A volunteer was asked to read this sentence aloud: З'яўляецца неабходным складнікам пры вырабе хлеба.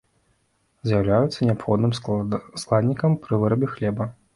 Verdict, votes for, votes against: rejected, 0, 2